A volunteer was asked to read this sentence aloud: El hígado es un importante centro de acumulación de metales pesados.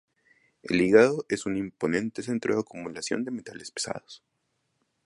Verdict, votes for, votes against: accepted, 2, 0